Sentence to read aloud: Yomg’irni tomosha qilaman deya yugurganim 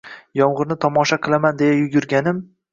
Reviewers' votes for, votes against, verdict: 2, 0, accepted